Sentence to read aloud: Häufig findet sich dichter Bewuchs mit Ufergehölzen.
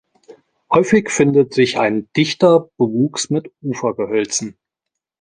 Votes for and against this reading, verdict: 0, 2, rejected